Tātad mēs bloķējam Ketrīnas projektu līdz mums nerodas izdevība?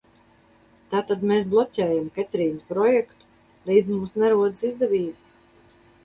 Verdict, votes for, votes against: accepted, 4, 0